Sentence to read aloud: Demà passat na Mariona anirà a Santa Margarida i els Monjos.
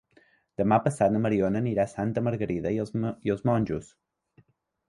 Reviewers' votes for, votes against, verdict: 2, 1, accepted